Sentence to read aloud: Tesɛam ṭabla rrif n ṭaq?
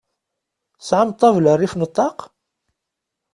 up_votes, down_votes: 2, 0